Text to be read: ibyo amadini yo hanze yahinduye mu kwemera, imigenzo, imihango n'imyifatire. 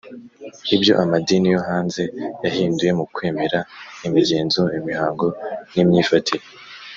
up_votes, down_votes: 2, 0